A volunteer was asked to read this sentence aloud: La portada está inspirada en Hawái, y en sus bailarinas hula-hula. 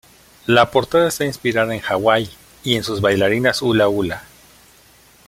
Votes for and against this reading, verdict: 2, 0, accepted